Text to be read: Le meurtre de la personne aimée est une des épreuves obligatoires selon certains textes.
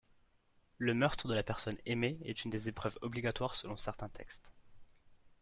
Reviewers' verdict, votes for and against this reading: accepted, 2, 1